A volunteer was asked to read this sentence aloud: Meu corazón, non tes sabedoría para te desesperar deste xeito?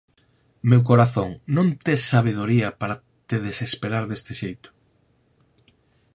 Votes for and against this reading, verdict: 4, 2, accepted